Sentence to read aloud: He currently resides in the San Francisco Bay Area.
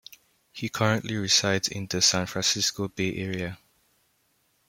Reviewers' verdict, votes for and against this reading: accepted, 2, 0